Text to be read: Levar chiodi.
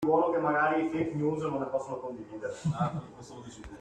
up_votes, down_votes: 0, 2